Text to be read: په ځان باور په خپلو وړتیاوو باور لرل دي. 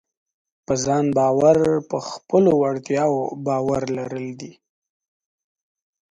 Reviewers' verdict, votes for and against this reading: accepted, 2, 0